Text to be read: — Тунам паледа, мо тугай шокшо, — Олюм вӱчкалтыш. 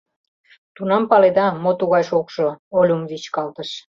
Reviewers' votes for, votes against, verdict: 2, 0, accepted